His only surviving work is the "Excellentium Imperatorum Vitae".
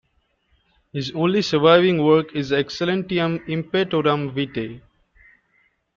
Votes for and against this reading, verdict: 0, 2, rejected